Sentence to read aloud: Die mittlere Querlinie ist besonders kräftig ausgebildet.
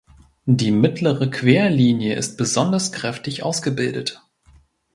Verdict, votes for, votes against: accepted, 2, 0